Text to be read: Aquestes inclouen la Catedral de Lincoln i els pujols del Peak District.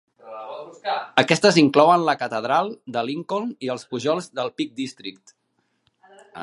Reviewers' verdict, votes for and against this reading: rejected, 1, 2